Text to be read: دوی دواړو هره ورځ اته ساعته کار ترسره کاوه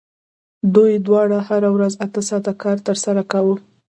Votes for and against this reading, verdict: 2, 0, accepted